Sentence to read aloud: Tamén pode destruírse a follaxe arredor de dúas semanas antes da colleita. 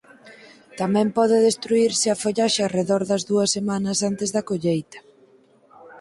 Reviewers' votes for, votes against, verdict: 2, 4, rejected